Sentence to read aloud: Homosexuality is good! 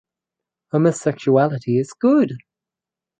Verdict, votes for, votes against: accepted, 4, 0